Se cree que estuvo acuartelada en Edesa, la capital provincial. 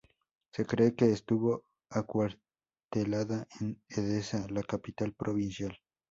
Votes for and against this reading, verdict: 2, 2, rejected